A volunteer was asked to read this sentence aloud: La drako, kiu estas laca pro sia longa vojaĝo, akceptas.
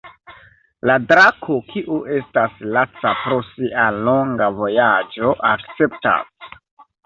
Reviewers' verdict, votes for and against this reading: rejected, 1, 2